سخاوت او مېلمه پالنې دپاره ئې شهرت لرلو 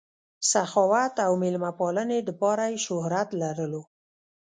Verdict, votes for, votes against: rejected, 0, 2